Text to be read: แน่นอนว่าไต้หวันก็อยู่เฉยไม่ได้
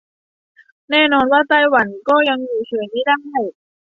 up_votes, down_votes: 0, 2